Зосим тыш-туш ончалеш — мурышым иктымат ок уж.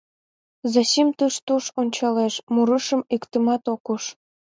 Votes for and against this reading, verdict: 2, 1, accepted